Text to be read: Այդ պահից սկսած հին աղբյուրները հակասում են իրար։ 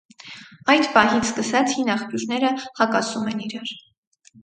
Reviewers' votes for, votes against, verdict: 4, 0, accepted